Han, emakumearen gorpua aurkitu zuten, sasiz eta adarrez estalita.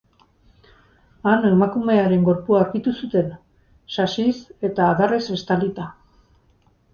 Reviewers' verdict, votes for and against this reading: accepted, 4, 0